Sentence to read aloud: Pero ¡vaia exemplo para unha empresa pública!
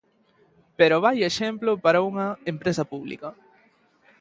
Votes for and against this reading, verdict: 2, 0, accepted